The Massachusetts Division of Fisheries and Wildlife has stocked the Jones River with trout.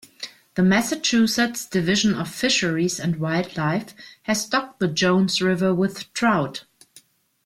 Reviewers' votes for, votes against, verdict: 2, 0, accepted